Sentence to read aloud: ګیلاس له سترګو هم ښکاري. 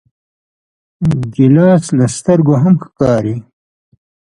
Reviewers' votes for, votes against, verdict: 2, 0, accepted